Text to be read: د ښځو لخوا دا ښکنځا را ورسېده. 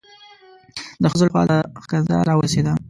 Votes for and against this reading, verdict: 1, 2, rejected